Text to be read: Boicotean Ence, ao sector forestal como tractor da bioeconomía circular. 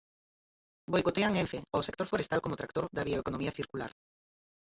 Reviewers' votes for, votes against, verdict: 0, 4, rejected